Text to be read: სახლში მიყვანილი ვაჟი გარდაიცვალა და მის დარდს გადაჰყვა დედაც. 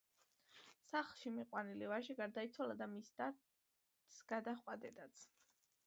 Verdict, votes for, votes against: rejected, 1, 2